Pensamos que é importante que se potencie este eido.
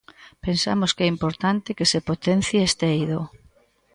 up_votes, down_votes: 3, 0